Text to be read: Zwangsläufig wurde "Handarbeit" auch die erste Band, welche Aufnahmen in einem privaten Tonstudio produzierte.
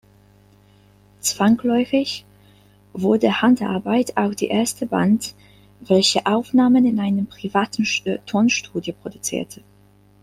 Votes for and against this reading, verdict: 1, 2, rejected